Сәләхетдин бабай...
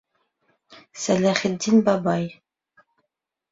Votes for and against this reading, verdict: 2, 0, accepted